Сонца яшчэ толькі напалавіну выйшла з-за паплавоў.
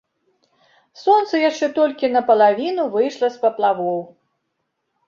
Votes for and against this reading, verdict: 1, 2, rejected